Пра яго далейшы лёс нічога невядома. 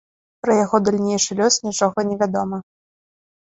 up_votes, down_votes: 1, 2